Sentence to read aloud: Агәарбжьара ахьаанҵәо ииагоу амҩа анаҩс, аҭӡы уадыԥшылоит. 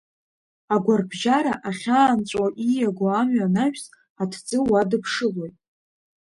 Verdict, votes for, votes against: accepted, 2, 0